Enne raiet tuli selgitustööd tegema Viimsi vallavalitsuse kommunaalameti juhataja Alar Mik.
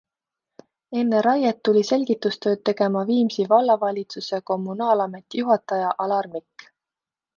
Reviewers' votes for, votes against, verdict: 2, 1, accepted